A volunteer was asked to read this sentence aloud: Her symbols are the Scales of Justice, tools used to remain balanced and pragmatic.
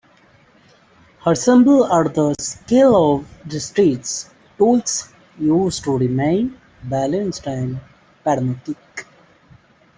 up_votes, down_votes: 0, 2